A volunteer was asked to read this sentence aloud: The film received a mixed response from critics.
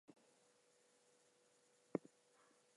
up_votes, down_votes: 2, 0